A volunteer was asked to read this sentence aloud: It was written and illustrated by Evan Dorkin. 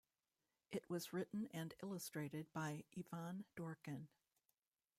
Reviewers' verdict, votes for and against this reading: rejected, 0, 2